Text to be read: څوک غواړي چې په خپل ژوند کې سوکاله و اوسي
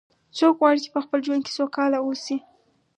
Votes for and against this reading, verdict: 4, 0, accepted